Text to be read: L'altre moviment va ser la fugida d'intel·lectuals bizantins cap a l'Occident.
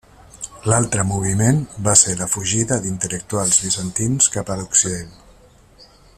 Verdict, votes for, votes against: accepted, 3, 1